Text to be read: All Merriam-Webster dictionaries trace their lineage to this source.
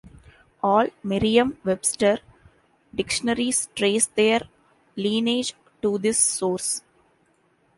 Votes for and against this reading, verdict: 2, 0, accepted